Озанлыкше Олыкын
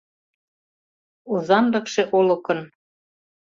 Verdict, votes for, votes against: accepted, 2, 0